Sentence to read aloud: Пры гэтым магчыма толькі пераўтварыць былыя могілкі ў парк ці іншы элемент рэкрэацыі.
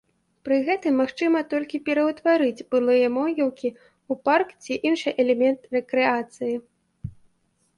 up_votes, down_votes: 2, 0